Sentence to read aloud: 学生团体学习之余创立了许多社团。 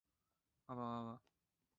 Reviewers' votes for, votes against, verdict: 0, 2, rejected